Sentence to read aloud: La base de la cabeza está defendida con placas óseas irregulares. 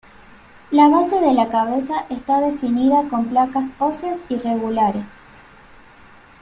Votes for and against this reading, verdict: 1, 2, rejected